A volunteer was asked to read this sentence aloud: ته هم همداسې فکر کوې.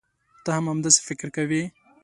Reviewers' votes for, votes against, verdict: 2, 1, accepted